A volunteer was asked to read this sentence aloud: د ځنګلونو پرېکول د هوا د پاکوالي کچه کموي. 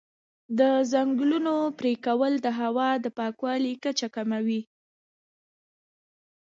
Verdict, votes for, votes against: accepted, 2, 0